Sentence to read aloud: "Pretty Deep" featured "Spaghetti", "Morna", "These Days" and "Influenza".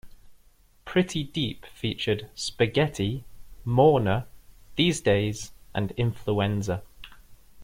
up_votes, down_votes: 2, 0